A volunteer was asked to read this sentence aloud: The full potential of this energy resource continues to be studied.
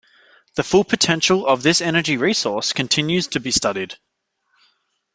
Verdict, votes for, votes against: accepted, 2, 0